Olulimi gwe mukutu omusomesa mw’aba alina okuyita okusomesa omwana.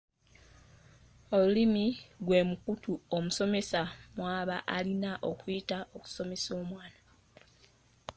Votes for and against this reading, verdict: 2, 1, accepted